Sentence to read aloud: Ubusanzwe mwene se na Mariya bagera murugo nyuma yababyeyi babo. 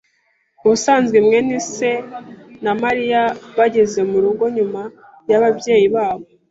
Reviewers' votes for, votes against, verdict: 0, 2, rejected